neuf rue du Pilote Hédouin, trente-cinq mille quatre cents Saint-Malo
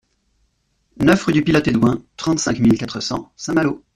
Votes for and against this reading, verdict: 2, 0, accepted